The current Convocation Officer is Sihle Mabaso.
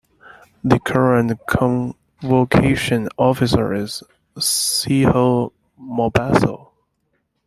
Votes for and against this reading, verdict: 1, 2, rejected